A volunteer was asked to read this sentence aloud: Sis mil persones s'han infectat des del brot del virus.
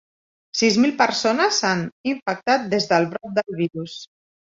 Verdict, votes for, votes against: accepted, 2, 1